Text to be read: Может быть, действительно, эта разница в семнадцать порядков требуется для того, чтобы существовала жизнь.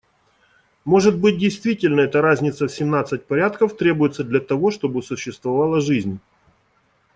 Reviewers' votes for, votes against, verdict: 2, 0, accepted